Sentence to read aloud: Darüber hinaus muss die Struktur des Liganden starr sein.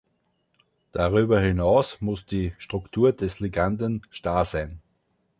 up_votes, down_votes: 2, 0